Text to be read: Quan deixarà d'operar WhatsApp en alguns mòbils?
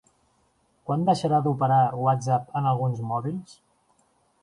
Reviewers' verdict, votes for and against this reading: accepted, 3, 0